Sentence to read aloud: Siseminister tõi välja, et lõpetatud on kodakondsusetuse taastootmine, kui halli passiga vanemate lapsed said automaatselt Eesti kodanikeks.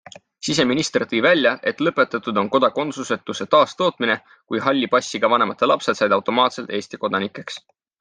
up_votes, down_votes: 4, 0